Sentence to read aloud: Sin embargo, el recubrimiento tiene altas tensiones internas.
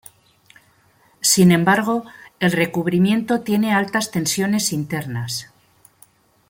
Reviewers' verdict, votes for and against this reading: accepted, 2, 0